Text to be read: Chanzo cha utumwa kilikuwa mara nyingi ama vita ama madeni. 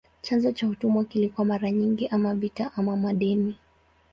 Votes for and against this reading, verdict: 0, 2, rejected